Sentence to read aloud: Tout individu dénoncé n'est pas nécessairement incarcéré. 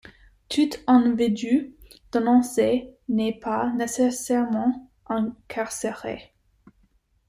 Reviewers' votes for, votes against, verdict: 0, 2, rejected